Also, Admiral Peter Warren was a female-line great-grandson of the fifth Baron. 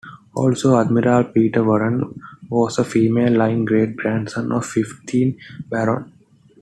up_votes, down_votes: 1, 2